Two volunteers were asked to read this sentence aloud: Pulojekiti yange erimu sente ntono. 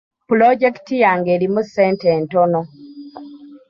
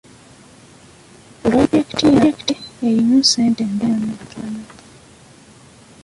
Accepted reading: first